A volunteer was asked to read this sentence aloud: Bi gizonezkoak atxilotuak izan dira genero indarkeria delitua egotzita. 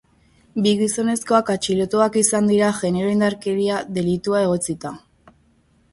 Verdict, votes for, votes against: accepted, 3, 0